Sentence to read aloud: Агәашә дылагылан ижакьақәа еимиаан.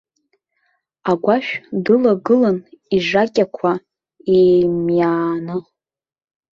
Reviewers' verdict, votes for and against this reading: rejected, 1, 2